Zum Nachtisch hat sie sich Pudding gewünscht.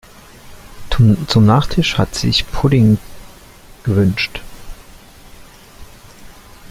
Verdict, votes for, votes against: rejected, 0, 2